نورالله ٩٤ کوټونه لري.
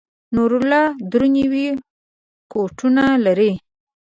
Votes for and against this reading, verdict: 0, 2, rejected